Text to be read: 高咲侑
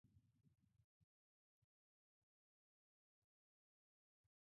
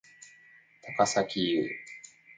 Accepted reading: second